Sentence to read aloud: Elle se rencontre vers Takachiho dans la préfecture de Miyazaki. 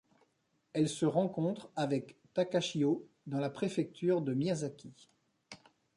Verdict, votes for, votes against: rejected, 0, 2